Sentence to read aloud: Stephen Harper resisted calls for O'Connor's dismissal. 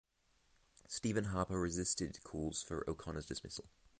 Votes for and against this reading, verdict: 3, 3, rejected